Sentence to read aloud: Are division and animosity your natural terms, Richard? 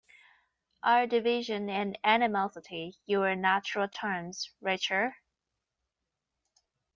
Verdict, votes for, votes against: rejected, 1, 2